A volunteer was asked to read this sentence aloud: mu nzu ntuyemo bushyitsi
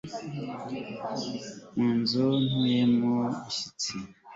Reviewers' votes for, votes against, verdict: 2, 0, accepted